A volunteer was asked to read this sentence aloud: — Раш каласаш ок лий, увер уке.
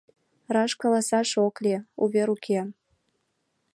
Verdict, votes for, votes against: accepted, 2, 0